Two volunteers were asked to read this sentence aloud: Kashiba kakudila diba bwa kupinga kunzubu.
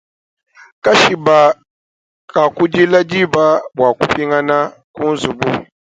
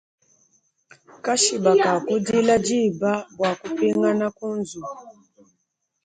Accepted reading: first